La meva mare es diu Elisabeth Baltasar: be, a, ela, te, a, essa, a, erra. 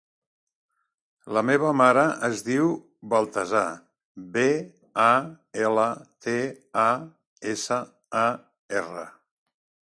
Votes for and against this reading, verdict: 0, 2, rejected